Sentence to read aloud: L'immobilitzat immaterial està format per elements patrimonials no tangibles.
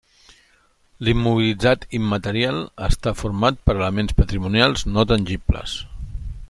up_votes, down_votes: 3, 0